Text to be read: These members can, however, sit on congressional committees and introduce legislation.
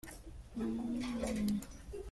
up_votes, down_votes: 0, 2